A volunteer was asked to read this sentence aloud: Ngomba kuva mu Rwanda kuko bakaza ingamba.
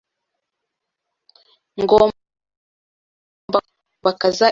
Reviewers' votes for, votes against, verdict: 1, 2, rejected